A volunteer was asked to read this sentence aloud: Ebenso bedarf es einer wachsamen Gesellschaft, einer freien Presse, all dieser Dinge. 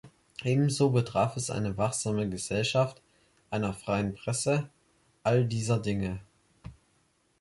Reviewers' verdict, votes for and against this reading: rejected, 1, 2